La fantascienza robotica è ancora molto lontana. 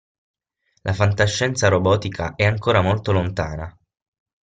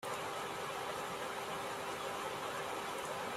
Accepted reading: first